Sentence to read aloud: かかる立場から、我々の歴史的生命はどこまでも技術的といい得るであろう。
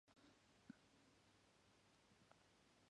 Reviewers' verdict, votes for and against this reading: rejected, 0, 2